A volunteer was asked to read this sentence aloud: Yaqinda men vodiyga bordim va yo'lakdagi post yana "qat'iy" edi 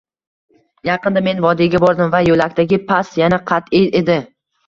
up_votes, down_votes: 1, 2